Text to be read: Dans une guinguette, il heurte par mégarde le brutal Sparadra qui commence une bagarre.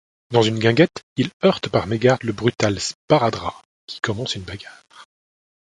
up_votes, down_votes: 2, 0